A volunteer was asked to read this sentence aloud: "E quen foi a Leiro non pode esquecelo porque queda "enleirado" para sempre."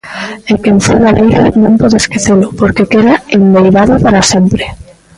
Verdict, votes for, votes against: rejected, 1, 2